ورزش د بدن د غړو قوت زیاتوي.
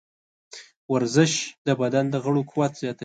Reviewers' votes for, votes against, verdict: 1, 2, rejected